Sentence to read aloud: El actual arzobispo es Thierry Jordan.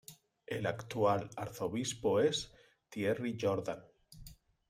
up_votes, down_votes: 2, 0